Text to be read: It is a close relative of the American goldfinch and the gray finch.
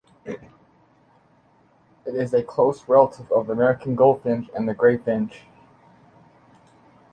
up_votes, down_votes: 2, 0